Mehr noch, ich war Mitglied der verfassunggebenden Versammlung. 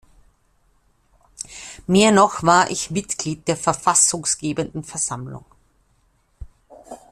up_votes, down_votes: 0, 2